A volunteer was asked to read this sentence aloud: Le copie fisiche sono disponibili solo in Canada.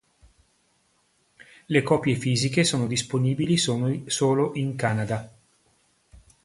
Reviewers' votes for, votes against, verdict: 1, 2, rejected